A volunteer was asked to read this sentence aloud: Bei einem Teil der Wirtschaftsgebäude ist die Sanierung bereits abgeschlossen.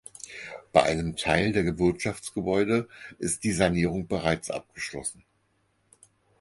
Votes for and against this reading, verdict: 2, 4, rejected